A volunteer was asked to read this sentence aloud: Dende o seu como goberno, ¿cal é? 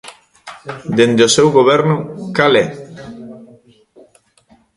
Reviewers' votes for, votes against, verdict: 1, 2, rejected